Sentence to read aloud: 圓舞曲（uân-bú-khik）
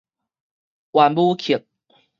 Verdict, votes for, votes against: rejected, 2, 2